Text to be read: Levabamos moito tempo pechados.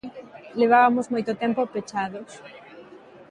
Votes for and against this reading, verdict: 2, 1, accepted